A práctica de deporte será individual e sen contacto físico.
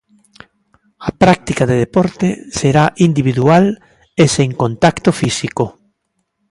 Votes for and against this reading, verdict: 2, 0, accepted